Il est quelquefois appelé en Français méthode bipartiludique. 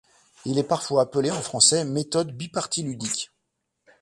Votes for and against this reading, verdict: 1, 2, rejected